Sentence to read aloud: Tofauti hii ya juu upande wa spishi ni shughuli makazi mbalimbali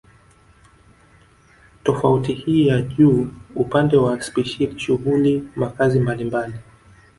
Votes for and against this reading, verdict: 1, 2, rejected